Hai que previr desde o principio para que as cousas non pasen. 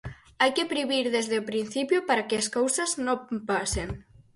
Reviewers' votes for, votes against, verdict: 2, 4, rejected